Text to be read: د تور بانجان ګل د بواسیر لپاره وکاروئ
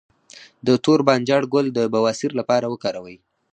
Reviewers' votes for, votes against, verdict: 4, 2, accepted